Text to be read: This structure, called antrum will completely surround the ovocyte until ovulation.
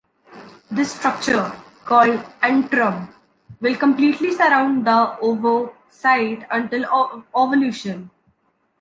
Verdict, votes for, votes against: rejected, 0, 2